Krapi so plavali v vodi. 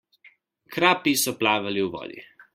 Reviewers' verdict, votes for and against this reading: accepted, 2, 0